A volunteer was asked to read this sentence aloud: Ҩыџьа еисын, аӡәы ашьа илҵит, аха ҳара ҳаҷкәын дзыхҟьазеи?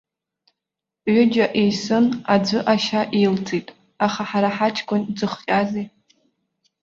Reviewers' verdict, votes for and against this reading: accepted, 2, 0